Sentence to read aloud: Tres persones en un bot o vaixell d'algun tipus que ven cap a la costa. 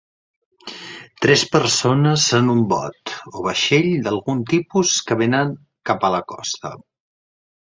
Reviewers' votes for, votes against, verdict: 0, 2, rejected